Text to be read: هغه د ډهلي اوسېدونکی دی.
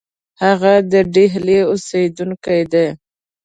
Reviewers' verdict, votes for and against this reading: accepted, 2, 0